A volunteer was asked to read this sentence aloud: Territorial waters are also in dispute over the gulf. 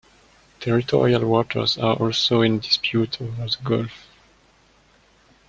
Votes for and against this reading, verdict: 2, 1, accepted